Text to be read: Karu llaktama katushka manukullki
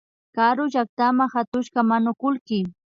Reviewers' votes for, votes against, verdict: 3, 0, accepted